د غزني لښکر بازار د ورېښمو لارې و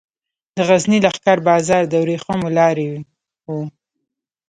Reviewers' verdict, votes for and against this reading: rejected, 0, 2